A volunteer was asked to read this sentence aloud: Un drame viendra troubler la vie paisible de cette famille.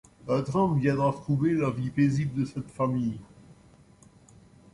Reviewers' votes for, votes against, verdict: 2, 0, accepted